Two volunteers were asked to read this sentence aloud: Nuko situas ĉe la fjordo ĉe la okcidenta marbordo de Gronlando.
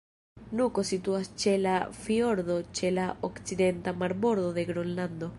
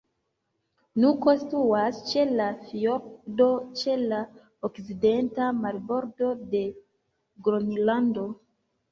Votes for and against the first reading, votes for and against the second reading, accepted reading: 1, 2, 2, 1, second